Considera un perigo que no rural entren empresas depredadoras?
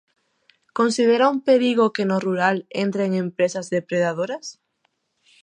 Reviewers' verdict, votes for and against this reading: accepted, 2, 0